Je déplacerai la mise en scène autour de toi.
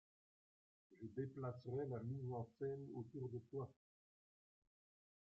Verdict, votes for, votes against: rejected, 1, 2